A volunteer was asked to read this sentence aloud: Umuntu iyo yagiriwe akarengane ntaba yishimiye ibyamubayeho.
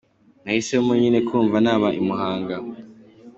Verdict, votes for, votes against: rejected, 1, 2